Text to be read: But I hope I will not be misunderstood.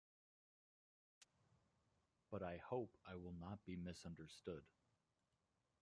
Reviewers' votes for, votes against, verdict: 0, 2, rejected